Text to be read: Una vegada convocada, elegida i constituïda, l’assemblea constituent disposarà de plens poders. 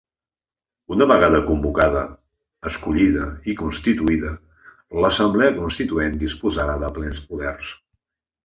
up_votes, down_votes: 0, 2